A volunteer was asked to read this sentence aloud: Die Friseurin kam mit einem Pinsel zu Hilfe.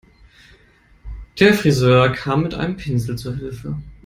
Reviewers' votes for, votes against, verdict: 0, 2, rejected